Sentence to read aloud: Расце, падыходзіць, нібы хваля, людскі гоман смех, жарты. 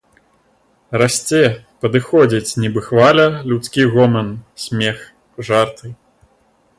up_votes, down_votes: 2, 0